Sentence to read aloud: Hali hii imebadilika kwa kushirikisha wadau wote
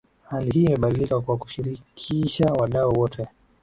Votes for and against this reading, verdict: 2, 1, accepted